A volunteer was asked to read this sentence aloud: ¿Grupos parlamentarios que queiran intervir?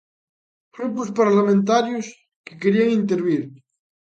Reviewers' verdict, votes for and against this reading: rejected, 0, 2